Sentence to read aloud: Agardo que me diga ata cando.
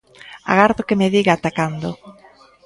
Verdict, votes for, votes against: rejected, 1, 2